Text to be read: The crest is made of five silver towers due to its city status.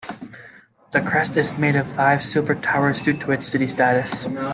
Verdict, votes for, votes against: accepted, 2, 0